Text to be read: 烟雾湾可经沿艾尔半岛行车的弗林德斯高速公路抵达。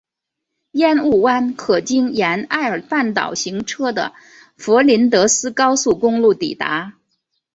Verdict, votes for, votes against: accepted, 3, 0